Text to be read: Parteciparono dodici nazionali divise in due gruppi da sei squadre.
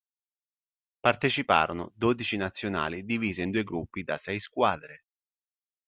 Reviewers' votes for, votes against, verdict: 2, 0, accepted